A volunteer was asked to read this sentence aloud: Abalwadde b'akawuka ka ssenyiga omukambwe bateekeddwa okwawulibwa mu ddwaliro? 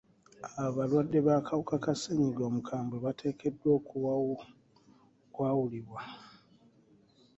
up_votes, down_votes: 0, 2